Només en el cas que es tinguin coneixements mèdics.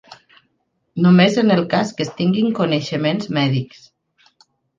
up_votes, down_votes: 2, 1